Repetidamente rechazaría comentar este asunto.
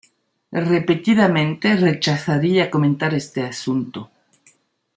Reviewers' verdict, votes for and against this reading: accepted, 2, 0